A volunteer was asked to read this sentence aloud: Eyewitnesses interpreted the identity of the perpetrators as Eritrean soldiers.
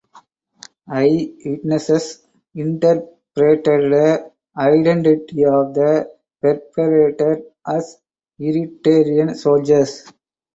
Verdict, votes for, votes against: rejected, 0, 4